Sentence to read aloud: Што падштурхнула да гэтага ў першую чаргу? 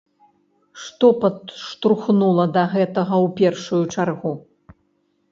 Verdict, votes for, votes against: rejected, 1, 2